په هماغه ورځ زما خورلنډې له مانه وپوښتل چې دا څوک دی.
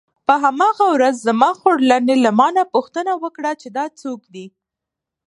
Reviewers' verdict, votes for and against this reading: rejected, 0, 2